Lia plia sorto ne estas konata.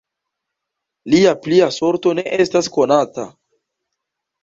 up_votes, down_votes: 2, 0